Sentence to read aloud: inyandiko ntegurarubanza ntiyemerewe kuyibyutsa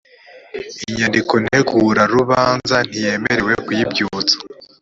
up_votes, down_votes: 3, 0